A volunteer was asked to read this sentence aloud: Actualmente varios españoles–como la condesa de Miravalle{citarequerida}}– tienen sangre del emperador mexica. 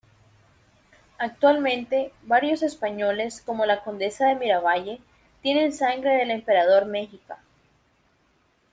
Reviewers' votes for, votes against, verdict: 0, 2, rejected